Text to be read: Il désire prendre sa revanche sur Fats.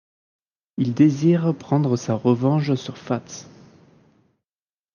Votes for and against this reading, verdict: 1, 2, rejected